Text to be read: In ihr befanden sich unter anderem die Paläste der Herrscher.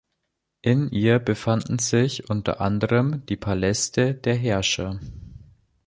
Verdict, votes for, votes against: accepted, 3, 0